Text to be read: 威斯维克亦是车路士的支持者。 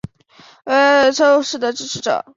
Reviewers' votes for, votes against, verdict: 2, 3, rejected